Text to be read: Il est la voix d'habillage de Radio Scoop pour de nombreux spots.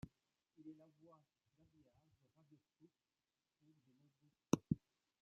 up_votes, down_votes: 1, 2